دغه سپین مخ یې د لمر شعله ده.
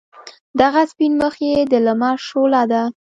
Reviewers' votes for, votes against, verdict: 3, 0, accepted